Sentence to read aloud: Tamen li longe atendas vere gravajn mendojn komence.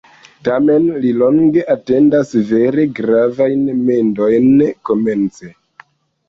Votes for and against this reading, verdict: 0, 2, rejected